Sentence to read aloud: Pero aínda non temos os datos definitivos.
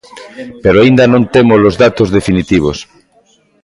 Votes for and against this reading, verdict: 2, 0, accepted